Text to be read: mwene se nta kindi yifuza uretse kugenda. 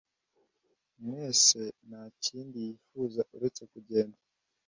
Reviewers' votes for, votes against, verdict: 1, 2, rejected